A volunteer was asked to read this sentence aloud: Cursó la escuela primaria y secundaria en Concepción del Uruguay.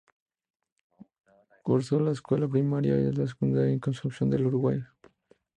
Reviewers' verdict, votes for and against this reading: accepted, 2, 0